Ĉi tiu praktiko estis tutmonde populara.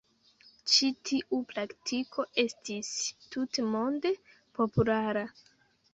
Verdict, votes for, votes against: rejected, 1, 2